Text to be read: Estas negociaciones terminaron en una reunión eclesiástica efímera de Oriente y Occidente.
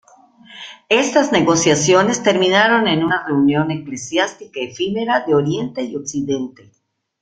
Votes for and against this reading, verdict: 1, 2, rejected